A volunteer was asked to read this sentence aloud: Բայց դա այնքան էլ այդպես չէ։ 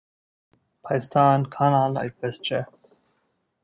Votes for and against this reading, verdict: 0, 2, rejected